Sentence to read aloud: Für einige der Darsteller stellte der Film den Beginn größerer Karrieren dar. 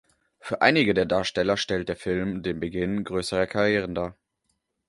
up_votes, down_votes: 0, 2